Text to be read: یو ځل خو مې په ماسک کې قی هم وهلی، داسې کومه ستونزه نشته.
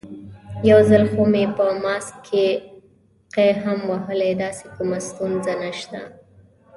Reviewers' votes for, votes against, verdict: 2, 0, accepted